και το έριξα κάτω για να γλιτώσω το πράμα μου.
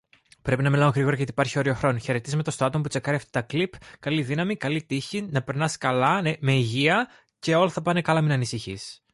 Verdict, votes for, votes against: rejected, 0, 2